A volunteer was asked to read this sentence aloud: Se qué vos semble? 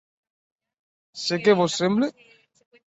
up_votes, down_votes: 1, 6